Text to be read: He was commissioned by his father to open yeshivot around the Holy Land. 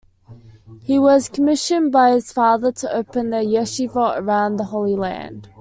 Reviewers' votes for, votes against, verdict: 2, 1, accepted